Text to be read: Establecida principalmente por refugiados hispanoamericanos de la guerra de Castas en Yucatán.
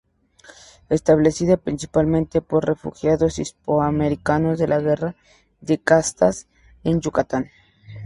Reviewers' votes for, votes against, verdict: 0, 2, rejected